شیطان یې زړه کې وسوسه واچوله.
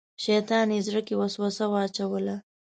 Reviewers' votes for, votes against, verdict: 2, 0, accepted